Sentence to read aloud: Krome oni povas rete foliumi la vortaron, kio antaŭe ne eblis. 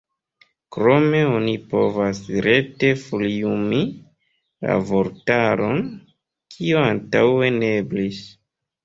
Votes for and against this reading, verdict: 1, 2, rejected